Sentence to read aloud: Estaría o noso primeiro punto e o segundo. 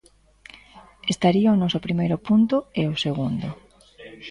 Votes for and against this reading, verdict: 0, 2, rejected